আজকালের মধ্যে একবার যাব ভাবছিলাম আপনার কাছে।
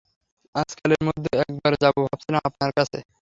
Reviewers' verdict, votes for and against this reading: accepted, 3, 0